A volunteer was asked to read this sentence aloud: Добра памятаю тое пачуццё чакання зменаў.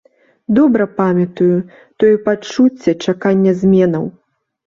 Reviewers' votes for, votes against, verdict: 1, 2, rejected